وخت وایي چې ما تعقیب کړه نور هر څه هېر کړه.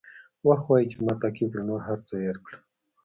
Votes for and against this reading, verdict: 2, 0, accepted